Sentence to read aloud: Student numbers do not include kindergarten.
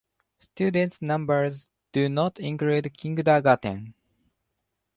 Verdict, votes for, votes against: accepted, 2, 1